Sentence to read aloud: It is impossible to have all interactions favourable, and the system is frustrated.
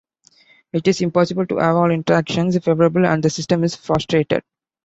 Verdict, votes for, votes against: accepted, 2, 0